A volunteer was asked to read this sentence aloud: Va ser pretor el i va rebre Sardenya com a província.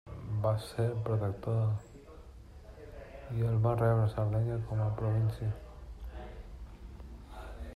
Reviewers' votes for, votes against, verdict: 0, 2, rejected